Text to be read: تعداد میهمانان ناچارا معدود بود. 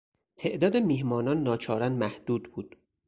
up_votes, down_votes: 4, 6